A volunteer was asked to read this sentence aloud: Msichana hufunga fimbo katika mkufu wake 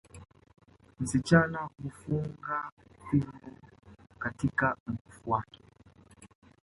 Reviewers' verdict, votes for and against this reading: rejected, 0, 2